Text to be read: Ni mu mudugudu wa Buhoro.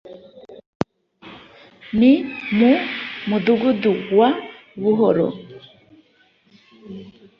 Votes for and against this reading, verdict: 0, 2, rejected